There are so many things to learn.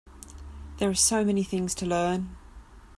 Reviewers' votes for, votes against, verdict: 2, 0, accepted